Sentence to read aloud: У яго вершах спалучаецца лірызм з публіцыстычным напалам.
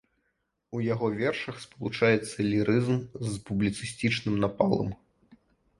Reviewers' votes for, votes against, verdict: 0, 2, rejected